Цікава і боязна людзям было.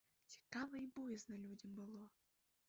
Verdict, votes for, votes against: rejected, 0, 2